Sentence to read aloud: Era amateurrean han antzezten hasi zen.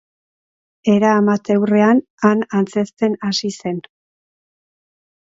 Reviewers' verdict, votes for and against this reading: accepted, 2, 0